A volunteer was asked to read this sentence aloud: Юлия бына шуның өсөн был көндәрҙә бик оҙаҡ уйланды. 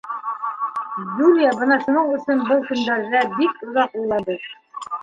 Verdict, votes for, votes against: rejected, 1, 2